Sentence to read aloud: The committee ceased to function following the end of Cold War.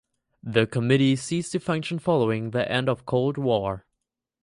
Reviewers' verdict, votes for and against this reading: accepted, 4, 0